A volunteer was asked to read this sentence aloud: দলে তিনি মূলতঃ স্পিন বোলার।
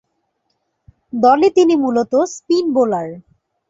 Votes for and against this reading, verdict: 2, 0, accepted